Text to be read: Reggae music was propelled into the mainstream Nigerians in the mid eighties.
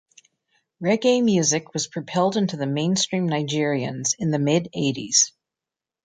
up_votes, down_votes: 2, 0